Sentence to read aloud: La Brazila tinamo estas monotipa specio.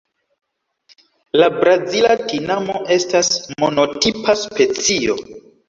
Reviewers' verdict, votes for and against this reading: rejected, 0, 2